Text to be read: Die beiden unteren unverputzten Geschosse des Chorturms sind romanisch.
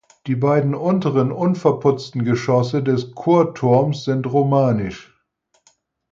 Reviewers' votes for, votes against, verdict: 4, 0, accepted